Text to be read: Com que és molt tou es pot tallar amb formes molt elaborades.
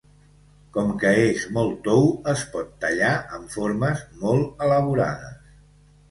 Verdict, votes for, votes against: accepted, 2, 0